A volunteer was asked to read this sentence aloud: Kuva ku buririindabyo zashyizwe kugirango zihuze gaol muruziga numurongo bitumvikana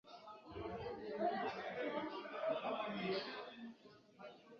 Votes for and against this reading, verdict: 1, 2, rejected